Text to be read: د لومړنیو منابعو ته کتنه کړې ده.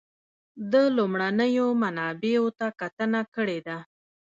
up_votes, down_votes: 0, 2